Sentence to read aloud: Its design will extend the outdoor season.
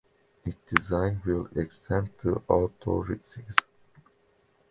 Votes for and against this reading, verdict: 0, 2, rejected